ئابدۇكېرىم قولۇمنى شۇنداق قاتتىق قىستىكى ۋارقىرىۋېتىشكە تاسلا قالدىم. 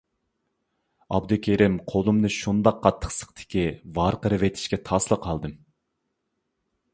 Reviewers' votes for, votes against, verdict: 0, 2, rejected